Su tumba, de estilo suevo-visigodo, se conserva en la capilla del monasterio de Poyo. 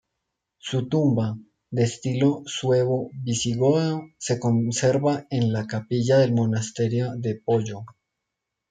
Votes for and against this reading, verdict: 2, 0, accepted